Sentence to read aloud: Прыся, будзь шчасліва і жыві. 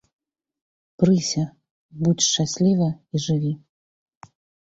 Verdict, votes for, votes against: accepted, 4, 0